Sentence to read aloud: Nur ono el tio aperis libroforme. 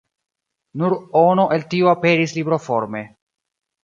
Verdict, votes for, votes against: accepted, 3, 0